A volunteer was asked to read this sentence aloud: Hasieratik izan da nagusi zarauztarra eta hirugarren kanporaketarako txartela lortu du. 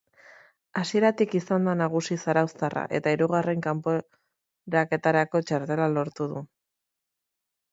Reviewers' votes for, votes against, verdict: 0, 2, rejected